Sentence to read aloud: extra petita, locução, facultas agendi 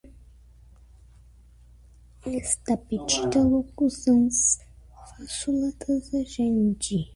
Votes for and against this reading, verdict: 0, 2, rejected